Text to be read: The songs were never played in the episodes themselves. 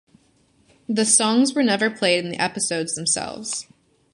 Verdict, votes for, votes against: accepted, 2, 1